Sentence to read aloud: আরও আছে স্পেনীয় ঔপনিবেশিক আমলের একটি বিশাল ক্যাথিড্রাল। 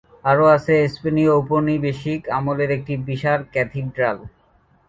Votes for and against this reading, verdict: 16, 2, accepted